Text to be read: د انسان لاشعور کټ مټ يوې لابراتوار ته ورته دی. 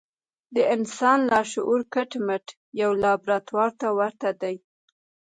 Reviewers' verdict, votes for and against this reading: accepted, 3, 1